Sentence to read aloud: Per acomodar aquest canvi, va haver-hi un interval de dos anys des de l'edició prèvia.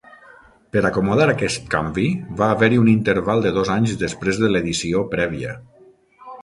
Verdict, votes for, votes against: rejected, 0, 6